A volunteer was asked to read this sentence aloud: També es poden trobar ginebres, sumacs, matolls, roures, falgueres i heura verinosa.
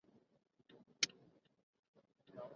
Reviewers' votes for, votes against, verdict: 0, 3, rejected